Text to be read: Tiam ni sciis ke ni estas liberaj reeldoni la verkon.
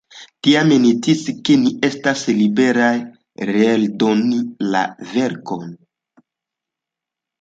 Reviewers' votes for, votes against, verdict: 2, 0, accepted